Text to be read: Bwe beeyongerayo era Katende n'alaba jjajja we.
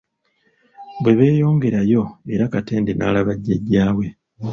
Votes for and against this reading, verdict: 0, 2, rejected